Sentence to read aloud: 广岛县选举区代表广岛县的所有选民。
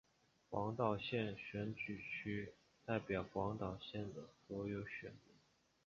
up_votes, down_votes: 3, 1